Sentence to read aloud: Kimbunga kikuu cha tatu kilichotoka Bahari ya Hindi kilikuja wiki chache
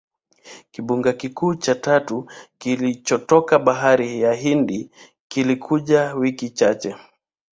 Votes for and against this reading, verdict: 2, 0, accepted